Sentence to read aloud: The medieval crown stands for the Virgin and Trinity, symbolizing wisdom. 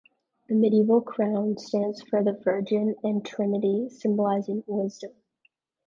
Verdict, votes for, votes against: accepted, 2, 0